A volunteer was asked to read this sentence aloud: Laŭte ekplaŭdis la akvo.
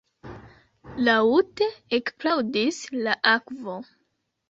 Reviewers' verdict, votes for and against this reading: rejected, 2, 3